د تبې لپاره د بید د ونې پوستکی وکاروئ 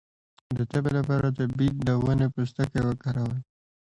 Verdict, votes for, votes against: accepted, 2, 0